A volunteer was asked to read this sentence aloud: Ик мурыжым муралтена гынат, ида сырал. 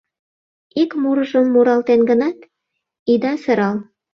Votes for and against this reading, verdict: 0, 2, rejected